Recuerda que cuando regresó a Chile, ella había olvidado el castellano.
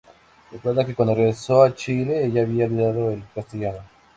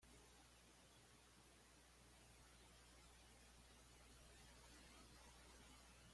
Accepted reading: first